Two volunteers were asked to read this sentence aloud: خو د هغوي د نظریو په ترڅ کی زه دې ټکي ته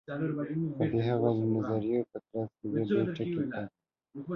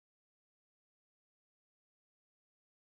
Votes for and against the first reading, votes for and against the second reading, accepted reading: 1, 2, 2, 0, second